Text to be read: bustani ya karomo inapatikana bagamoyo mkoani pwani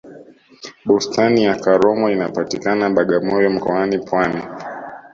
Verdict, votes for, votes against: accepted, 3, 0